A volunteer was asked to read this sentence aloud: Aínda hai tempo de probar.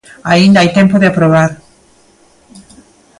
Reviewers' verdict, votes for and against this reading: accepted, 2, 0